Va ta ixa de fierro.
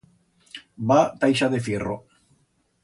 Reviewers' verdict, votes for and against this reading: accepted, 2, 0